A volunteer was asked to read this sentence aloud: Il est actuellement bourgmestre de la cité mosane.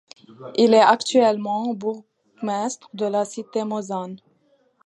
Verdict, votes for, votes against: accepted, 2, 0